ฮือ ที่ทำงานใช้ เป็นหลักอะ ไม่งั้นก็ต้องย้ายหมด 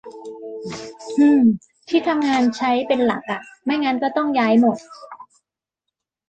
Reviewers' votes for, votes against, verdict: 2, 1, accepted